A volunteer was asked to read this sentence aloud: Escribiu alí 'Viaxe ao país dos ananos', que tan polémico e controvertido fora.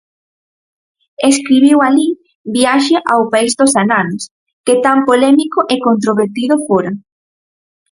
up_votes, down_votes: 4, 0